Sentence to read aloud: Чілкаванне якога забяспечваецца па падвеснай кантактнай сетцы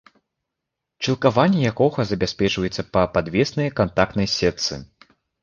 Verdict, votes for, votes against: rejected, 0, 2